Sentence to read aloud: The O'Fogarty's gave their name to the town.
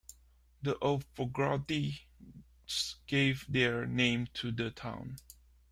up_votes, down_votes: 0, 2